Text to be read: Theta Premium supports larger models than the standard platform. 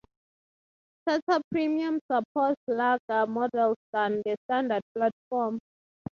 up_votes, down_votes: 3, 3